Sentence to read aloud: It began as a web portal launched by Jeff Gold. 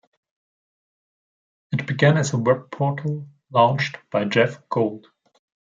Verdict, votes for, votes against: accepted, 2, 0